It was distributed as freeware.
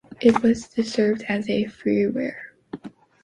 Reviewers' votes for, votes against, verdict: 0, 2, rejected